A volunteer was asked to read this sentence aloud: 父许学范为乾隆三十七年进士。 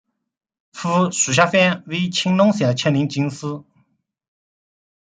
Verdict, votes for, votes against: rejected, 0, 2